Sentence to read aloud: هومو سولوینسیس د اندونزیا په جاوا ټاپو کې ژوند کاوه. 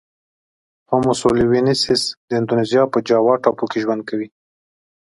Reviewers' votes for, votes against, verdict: 2, 0, accepted